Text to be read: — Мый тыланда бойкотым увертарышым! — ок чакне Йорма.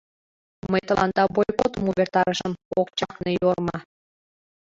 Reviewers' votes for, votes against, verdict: 2, 1, accepted